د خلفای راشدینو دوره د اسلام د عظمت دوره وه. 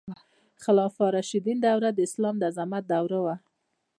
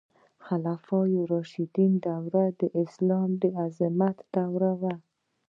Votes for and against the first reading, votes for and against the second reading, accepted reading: 2, 0, 1, 2, first